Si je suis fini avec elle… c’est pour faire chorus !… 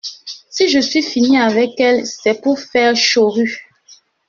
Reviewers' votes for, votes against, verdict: 0, 2, rejected